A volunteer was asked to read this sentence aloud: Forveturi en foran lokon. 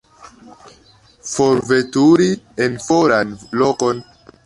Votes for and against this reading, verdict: 2, 0, accepted